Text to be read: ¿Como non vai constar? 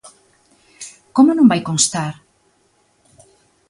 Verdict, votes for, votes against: accepted, 2, 0